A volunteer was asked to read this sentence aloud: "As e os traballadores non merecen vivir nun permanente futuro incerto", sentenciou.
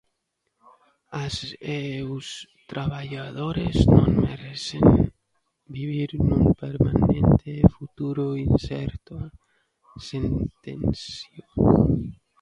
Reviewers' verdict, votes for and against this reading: rejected, 1, 2